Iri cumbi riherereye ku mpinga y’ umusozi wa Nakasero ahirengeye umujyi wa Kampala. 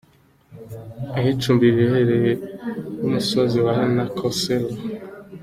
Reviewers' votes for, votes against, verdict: 0, 2, rejected